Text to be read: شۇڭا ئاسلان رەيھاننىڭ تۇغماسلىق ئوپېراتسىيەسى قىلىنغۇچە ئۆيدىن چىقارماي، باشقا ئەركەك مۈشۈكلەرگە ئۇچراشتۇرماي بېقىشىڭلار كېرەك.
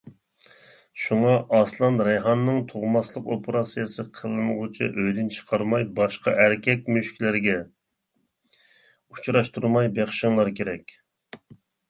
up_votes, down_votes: 2, 0